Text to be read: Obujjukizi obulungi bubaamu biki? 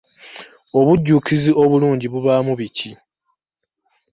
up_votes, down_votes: 0, 2